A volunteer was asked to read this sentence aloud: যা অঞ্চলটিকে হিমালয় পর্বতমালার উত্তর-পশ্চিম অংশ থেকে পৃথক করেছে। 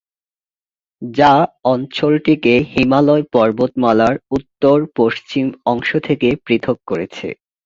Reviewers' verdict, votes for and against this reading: accepted, 8, 0